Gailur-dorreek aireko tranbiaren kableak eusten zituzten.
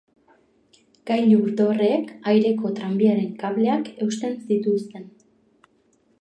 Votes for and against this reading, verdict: 2, 0, accepted